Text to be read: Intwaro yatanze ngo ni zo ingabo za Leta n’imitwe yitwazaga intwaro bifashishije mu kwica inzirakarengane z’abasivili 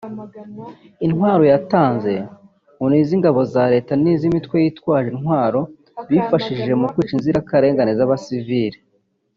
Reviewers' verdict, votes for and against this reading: rejected, 0, 2